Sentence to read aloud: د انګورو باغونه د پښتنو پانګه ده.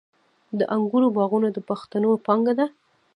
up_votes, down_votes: 0, 2